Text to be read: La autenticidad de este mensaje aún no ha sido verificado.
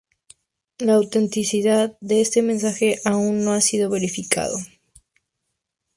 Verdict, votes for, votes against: accepted, 2, 0